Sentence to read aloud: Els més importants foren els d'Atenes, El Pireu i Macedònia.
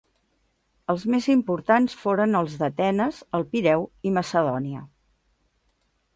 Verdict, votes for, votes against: accepted, 2, 0